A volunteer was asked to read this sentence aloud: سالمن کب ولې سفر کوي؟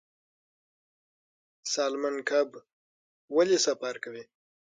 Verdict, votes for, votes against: accepted, 6, 0